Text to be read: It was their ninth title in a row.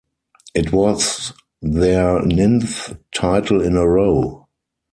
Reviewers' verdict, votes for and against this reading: rejected, 0, 4